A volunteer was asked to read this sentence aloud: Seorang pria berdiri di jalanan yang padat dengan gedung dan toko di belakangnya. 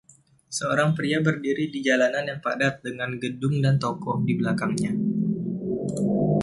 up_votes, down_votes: 2, 0